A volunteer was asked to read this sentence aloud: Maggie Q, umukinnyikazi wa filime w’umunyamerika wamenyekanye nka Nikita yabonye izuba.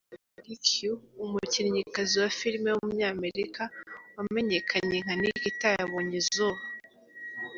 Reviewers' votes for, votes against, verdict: 2, 1, accepted